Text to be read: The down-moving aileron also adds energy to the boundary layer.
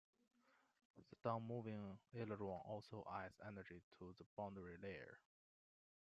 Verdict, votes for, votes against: rejected, 0, 2